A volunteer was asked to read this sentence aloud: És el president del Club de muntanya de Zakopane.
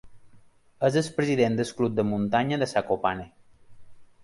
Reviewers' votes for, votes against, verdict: 0, 2, rejected